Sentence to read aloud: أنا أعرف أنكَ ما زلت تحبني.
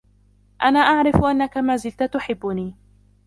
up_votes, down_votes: 0, 2